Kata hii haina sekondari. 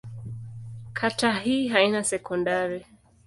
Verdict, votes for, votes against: accepted, 2, 0